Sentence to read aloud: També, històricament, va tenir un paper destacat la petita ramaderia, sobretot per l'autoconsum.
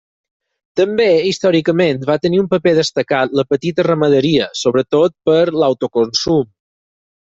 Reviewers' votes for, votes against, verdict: 6, 0, accepted